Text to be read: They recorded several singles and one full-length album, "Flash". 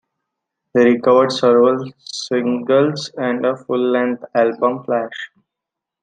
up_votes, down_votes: 2, 1